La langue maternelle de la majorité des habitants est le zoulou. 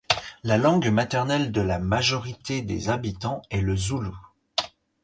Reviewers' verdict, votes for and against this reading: accepted, 4, 0